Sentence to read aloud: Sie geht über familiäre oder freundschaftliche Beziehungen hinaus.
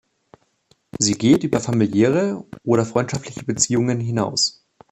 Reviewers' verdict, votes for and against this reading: accepted, 2, 0